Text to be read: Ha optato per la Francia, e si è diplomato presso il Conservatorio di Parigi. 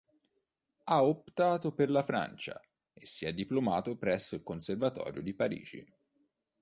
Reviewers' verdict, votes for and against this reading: accepted, 2, 0